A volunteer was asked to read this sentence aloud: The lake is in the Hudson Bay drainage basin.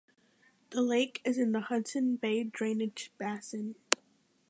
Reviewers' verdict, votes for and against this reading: accepted, 2, 0